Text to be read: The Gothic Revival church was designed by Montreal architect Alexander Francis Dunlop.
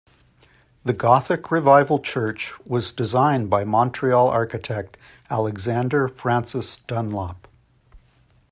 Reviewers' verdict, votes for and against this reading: accepted, 2, 0